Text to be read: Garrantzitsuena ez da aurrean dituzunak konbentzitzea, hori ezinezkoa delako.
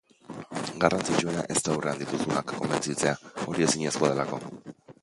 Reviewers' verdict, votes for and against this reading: rejected, 1, 2